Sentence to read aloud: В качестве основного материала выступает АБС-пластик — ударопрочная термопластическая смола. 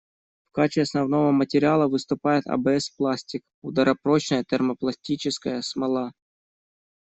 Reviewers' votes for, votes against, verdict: 2, 0, accepted